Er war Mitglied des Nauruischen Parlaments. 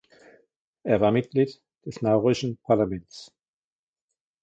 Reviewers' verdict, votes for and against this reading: rejected, 1, 2